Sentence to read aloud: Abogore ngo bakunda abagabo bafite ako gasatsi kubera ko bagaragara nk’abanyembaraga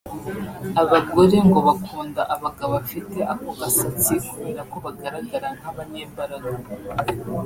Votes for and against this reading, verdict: 2, 1, accepted